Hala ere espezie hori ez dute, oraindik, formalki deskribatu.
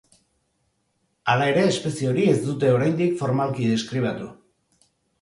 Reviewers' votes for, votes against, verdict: 2, 0, accepted